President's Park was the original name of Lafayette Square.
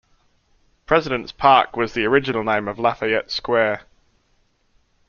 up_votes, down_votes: 2, 0